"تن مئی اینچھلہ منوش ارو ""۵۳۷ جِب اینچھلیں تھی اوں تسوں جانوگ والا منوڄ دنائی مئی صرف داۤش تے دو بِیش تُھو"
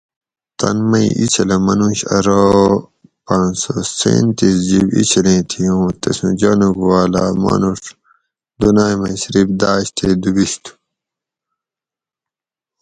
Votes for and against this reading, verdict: 0, 2, rejected